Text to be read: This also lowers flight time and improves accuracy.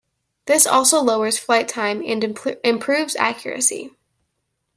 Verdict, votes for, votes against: rejected, 0, 2